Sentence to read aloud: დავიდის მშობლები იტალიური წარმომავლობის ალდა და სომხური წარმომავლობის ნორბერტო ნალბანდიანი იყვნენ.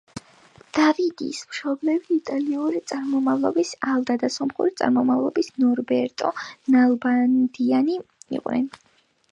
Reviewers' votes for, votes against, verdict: 1, 2, rejected